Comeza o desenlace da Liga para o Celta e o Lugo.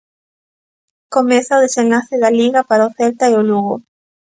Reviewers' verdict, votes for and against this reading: accepted, 2, 0